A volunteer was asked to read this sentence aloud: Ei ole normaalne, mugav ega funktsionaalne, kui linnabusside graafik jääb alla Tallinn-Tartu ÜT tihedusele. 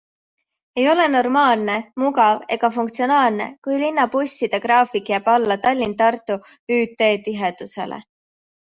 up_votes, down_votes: 2, 0